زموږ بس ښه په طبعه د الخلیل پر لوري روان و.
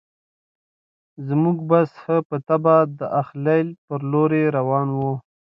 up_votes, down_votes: 2, 0